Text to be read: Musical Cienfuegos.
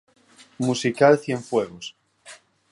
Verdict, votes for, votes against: accepted, 4, 0